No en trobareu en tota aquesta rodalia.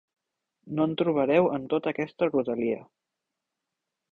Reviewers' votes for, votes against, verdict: 1, 2, rejected